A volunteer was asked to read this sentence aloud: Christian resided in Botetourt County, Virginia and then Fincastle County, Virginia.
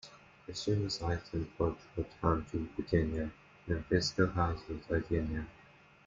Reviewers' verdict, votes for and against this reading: rejected, 0, 2